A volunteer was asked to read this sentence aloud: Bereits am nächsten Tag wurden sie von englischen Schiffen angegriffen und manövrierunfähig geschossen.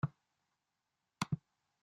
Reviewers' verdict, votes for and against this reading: rejected, 0, 2